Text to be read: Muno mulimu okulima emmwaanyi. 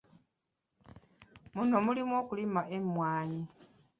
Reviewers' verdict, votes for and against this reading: rejected, 0, 2